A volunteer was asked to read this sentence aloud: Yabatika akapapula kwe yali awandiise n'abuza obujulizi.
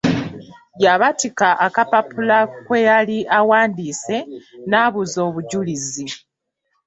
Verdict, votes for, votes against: accepted, 3, 1